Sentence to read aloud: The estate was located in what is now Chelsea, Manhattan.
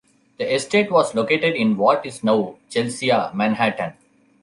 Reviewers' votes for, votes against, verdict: 0, 2, rejected